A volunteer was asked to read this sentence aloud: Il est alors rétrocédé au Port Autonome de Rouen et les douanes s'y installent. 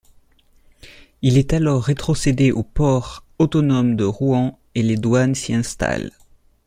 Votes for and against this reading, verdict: 2, 0, accepted